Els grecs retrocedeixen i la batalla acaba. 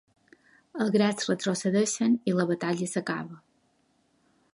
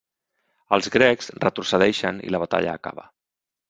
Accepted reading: second